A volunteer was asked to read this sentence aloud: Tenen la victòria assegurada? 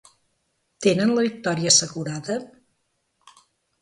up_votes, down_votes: 1, 2